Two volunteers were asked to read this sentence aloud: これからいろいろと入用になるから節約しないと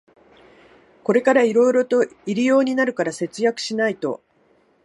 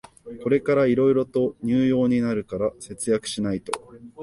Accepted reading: first